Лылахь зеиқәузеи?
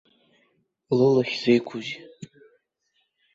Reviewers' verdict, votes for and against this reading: accepted, 2, 0